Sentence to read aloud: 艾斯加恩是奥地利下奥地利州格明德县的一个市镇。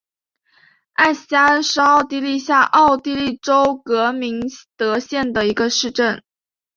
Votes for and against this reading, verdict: 2, 0, accepted